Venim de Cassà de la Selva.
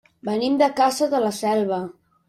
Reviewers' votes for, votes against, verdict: 0, 2, rejected